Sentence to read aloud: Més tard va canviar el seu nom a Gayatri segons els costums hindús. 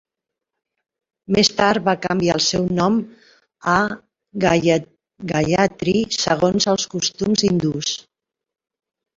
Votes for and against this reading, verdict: 1, 2, rejected